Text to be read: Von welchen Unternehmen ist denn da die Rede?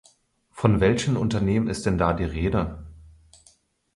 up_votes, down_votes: 4, 0